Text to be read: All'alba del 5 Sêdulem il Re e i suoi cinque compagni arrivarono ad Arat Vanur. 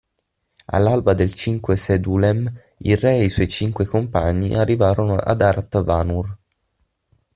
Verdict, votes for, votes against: rejected, 0, 2